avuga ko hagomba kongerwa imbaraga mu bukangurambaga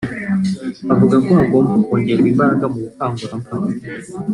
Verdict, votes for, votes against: rejected, 0, 2